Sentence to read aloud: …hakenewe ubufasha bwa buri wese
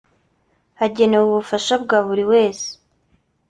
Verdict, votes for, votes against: rejected, 1, 2